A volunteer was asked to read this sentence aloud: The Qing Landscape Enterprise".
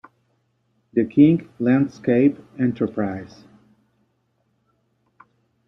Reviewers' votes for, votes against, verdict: 0, 2, rejected